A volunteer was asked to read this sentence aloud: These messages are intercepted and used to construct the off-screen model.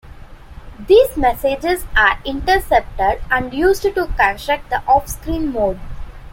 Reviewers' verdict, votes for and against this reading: accepted, 2, 0